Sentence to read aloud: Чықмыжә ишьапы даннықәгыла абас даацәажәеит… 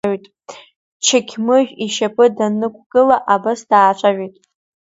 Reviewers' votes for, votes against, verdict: 1, 2, rejected